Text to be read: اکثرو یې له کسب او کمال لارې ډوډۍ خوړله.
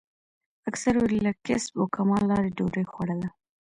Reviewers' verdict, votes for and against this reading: rejected, 1, 2